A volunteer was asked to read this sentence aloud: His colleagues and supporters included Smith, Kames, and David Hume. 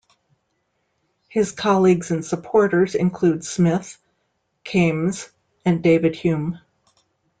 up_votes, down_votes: 1, 2